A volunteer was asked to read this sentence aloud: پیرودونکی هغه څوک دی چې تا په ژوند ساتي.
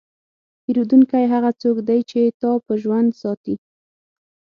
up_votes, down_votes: 6, 0